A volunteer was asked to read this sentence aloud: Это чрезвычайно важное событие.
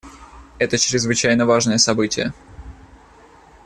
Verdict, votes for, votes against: accepted, 2, 0